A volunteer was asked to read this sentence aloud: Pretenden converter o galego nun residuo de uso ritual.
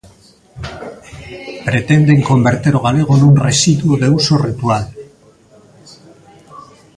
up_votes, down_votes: 2, 0